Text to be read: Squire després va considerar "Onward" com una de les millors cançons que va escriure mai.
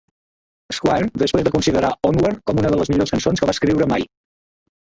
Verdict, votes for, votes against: rejected, 1, 2